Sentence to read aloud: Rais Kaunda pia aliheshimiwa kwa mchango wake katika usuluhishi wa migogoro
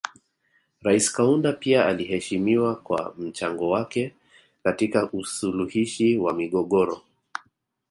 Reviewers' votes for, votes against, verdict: 2, 0, accepted